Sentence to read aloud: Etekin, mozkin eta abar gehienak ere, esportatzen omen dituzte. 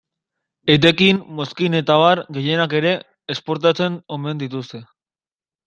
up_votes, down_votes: 2, 0